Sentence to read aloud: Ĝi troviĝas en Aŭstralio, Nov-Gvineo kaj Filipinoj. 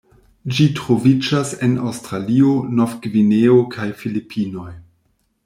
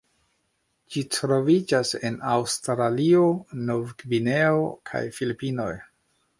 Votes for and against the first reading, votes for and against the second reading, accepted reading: 2, 0, 1, 2, first